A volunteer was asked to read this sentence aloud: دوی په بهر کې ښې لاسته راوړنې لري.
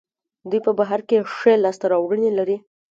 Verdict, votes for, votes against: accepted, 3, 1